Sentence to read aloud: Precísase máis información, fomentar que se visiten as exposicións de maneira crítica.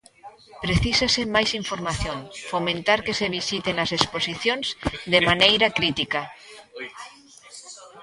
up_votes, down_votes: 0, 2